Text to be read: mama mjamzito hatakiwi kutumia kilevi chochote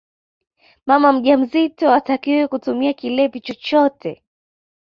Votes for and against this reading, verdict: 2, 0, accepted